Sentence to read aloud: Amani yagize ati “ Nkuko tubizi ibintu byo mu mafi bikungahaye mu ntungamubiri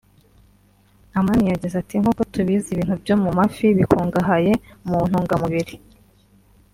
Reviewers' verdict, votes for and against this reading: accepted, 2, 0